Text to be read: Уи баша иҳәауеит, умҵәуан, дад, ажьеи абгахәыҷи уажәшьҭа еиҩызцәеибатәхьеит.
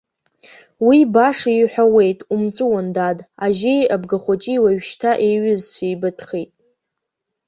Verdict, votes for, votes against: accepted, 2, 0